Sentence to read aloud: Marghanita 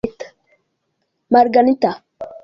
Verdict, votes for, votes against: rejected, 1, 2